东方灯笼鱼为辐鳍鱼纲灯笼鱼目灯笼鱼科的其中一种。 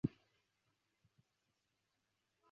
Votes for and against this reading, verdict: 0, 2, rejected